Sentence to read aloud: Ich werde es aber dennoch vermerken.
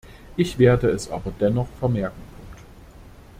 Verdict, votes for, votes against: rejected, 1, 2